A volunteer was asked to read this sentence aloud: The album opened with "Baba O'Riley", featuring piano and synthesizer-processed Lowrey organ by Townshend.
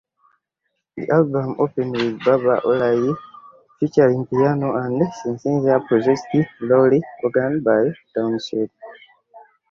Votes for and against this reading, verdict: 2, 0, accepted